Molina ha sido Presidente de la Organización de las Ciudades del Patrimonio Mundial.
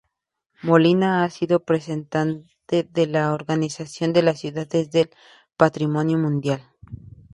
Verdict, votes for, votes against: rejected, 0, 2